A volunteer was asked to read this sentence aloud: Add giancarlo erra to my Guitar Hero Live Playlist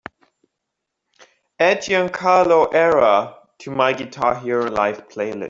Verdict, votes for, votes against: accepted, 2, 0